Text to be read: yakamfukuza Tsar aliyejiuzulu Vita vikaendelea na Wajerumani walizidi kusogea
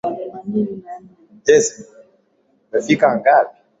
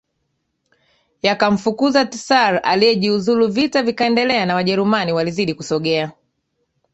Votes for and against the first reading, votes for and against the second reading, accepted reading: 0, 2, 2, 0, second